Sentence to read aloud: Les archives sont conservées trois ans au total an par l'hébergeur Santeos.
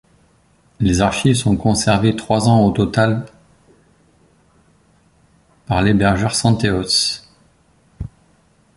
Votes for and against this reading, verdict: 1, 2, rejected